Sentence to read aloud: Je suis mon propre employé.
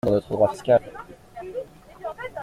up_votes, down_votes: 0, 2